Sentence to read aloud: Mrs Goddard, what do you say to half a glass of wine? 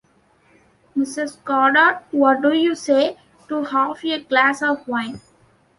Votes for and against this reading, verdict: 2, 0, accepted